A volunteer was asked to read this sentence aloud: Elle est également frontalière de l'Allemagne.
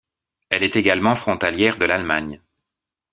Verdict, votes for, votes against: accepted, 2, 0